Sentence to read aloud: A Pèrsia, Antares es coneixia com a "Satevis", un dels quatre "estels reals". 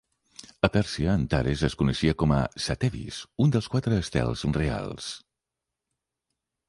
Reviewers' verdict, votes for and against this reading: accepted, 2, 1